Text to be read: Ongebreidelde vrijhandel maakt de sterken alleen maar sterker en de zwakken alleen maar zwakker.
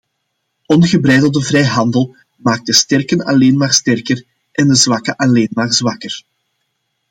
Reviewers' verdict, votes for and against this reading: accepted, 2, 0